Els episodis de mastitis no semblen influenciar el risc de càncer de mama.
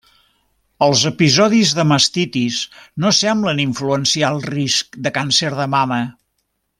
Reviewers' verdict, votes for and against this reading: accepted, 3, 0